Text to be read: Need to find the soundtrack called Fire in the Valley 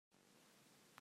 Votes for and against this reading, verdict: 0, 2, rejected